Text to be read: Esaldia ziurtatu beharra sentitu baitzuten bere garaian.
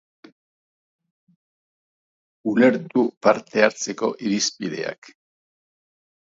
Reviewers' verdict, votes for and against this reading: rejected, 0, 2